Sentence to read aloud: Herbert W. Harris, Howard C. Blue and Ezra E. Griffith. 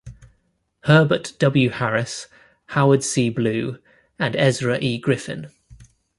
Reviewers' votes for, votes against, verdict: 2, 0, accepted